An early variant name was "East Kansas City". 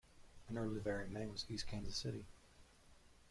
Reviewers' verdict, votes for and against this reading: rejected, 1, 2